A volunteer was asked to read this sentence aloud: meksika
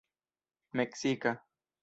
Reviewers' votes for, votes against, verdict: 1, 2, rejected